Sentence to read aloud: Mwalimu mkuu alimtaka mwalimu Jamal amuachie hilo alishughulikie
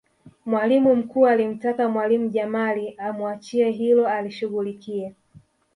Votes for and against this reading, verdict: 2, 0, accepted